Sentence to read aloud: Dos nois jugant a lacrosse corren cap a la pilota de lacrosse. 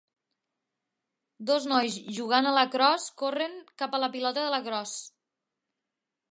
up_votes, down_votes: 2, 0